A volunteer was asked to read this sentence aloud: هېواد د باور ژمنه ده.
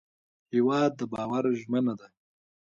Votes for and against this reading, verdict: 2, 1, accepted